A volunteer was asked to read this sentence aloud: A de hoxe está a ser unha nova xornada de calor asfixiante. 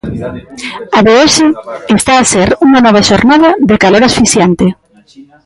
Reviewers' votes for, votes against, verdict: 0, 2, rejected